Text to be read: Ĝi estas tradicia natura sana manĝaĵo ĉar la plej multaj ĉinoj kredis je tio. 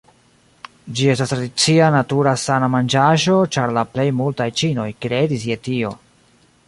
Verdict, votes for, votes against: rejected, 1, 2